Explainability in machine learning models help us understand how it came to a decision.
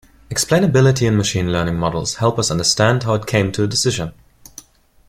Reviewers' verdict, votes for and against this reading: accepted, 2, 0